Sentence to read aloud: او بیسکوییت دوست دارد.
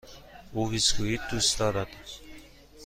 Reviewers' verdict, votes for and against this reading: accepted, 2, 1